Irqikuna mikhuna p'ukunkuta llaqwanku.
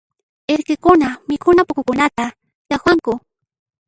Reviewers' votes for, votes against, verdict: 1, 2, rejected